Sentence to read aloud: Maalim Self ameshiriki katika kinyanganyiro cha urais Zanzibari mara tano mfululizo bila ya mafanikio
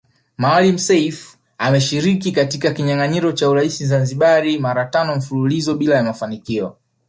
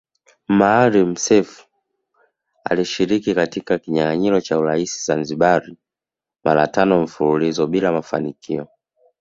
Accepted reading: first